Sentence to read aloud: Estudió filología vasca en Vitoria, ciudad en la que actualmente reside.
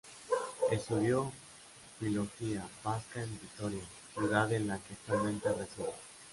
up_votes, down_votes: 1, 2